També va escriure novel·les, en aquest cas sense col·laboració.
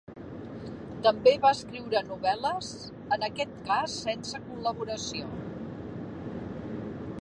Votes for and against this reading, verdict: 2, 0, accepted